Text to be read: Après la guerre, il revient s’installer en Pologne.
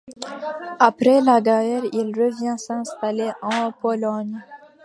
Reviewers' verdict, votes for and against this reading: accepted, 2, 0